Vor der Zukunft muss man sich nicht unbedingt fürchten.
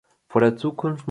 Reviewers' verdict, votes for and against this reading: rejected, 1, 2